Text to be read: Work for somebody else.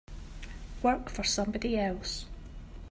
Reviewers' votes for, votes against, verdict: 2, 0, accepted